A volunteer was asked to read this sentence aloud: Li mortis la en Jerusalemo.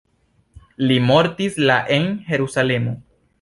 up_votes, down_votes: 0, 2